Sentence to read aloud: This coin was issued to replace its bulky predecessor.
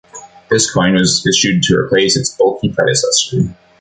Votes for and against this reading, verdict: 1, 2, rejected